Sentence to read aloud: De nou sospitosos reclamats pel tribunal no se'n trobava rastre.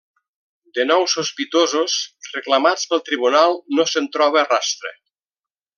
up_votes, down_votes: 0, 2